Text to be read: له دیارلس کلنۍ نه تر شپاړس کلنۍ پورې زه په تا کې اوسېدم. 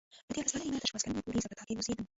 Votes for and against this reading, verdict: 0, 2, rejected